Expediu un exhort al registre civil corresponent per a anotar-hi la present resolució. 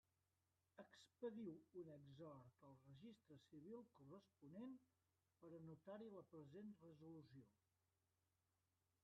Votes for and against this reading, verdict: 0, 3, rejected